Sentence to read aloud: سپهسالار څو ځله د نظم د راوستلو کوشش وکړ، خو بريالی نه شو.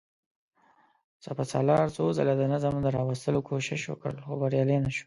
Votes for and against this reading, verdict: 2, 0, accepted